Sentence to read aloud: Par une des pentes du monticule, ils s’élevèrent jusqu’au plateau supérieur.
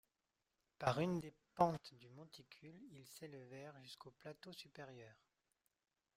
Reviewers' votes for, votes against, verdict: 0, 2, rejected